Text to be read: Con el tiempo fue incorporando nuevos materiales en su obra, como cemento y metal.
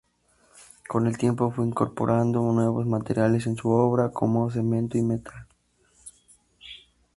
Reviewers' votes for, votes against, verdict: 2, 0, accepted